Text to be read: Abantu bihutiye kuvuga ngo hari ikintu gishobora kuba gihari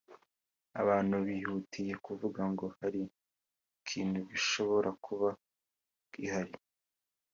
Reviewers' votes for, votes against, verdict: 2, 0, accepted